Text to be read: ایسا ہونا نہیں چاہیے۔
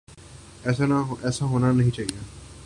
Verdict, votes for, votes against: rejected, 1, 2